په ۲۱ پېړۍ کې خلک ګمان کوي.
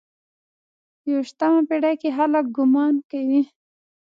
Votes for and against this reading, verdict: 0, 2, rejected